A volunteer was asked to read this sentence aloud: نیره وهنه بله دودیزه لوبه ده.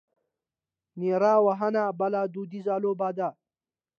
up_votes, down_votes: 2, 0